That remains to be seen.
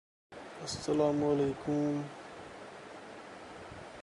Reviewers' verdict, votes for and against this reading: rejected, 0, 2